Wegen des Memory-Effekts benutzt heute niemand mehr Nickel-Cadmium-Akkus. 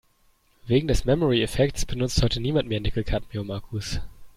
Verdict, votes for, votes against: accepted, 2, 0